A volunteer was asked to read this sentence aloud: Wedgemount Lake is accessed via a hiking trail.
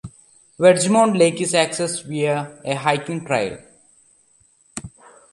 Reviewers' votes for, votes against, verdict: 2, 0, accepted